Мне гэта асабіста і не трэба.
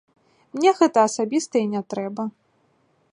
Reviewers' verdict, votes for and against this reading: accepted, 2, 0